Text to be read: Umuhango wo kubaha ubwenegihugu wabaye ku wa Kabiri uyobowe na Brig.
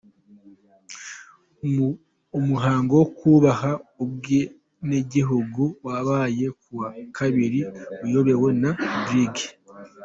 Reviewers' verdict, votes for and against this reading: rejected, 0, 2